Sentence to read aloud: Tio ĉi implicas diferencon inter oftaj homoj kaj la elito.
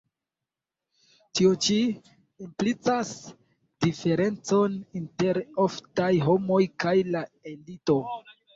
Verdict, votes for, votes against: rejected, 1, 2